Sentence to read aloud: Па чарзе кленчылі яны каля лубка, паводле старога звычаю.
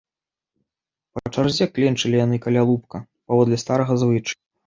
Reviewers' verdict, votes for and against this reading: rejected, 2, 3